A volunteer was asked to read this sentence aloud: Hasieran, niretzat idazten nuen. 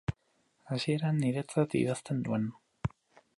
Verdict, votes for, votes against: accepted, 2, 0